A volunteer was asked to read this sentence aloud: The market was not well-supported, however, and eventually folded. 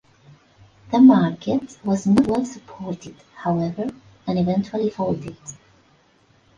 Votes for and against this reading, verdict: 1, 2, rejected